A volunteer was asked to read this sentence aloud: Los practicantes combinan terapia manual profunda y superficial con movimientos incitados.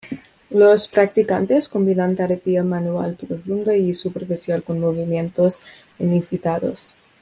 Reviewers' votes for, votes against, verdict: 2, 0, accepted